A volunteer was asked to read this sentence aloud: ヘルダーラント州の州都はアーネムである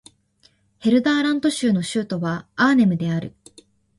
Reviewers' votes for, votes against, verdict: 2, 0, accepted